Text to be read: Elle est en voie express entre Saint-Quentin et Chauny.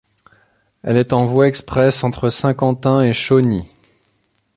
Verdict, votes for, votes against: accepted, 2, 0